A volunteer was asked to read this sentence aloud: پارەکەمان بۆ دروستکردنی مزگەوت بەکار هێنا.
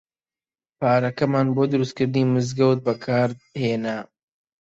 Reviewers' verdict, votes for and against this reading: rejected, 0, 2